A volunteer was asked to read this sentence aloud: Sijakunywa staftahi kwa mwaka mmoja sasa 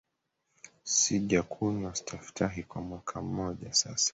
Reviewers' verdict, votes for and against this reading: accepted, 3, 1